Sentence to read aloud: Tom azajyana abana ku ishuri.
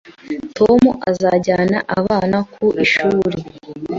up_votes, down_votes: 2, 0